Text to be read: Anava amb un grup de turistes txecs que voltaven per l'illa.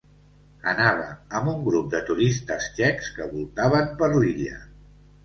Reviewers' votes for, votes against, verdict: 2, 0, accepted